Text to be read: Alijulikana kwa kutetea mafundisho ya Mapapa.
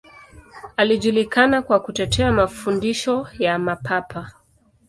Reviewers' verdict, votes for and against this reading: accepted, 2, 1